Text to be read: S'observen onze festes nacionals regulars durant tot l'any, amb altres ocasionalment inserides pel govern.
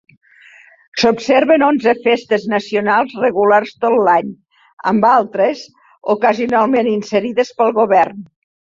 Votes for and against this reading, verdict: 1, 2, rejected